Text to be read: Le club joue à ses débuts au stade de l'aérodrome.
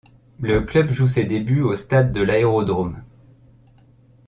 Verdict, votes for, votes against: rejected, 0, 2